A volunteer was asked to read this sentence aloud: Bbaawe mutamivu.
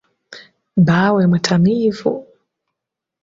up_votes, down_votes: 2, 0